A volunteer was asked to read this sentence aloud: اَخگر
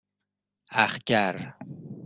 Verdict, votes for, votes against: accepted, 2, 0